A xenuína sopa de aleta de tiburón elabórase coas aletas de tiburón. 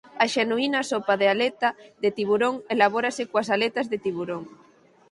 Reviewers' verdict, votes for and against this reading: accepted, 4, 2